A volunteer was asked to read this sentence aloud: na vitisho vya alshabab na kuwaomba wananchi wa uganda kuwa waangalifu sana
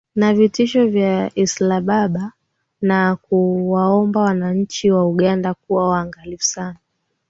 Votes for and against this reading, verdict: 3, 0, accepted